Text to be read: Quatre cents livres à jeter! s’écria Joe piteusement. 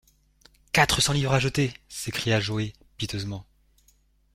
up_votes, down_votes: 0, 2